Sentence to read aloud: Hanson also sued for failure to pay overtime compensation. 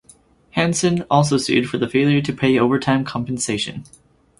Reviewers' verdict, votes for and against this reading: rejected, 0, 2